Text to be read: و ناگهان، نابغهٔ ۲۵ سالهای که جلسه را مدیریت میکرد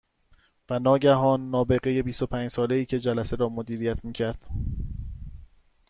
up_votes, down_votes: 0, 2